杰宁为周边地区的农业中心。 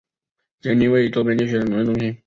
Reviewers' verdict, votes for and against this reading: accepted, 3, 0